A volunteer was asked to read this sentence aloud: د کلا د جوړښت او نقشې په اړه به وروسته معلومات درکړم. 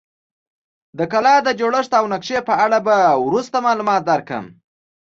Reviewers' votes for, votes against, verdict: 2, 0, accepted